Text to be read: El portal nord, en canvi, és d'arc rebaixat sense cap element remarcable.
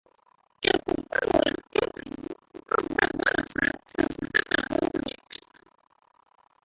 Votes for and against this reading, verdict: 0, 3, rejected